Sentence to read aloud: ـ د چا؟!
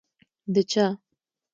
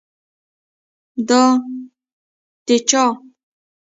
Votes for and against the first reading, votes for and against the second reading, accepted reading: 2, 0, 0, 2, first